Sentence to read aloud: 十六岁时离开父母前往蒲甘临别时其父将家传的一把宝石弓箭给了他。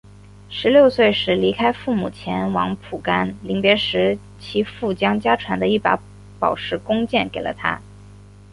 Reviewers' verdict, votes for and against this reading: accepted, 2, 1